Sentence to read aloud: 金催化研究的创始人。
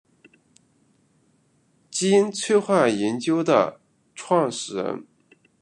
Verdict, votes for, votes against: accepted, 2, 1